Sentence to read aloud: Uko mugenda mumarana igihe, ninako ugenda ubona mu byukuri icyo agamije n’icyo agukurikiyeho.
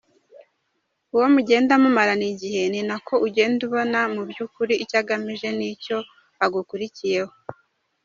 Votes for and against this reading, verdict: 2, 0, accepted